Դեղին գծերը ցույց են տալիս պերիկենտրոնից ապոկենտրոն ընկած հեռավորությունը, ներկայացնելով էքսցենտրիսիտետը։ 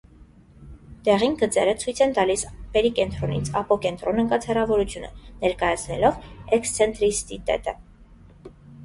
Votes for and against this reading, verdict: 0, 2, rejected